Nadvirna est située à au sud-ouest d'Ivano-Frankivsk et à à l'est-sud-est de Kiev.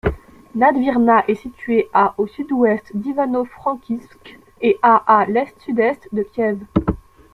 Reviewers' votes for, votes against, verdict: 2, 0, accepted